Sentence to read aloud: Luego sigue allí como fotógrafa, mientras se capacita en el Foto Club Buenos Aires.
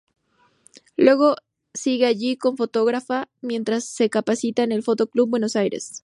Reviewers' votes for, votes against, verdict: 0, 2, rejected